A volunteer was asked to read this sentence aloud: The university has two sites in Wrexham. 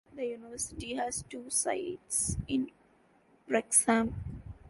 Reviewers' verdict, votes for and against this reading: rejected, 1, 2